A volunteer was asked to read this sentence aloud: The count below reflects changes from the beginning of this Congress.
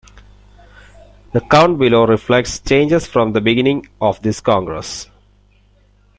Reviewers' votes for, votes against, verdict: 2, 0, accepted